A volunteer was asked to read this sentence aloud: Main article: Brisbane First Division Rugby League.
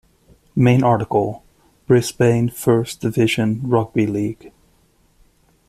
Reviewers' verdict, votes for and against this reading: accepted, 2, 0